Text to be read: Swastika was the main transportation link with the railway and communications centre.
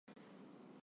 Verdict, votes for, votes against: rejected, 0, 16